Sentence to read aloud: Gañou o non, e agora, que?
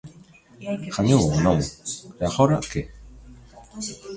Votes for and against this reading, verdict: 1, 2, rejected